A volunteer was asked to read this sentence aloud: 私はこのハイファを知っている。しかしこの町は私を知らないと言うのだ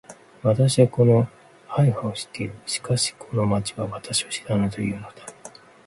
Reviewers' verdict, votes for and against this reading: rejected, 1, 2